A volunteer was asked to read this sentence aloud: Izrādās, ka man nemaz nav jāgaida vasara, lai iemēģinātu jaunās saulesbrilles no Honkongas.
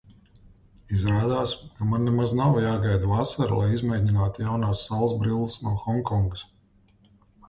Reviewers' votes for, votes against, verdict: 0, 2, rejected